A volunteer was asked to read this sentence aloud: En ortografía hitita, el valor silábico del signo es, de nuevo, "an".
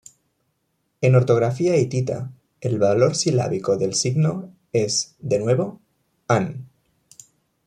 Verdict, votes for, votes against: accepted, 2, 0